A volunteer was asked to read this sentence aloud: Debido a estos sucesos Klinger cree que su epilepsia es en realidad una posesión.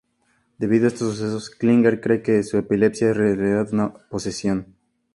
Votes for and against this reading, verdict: 0, 2, rejected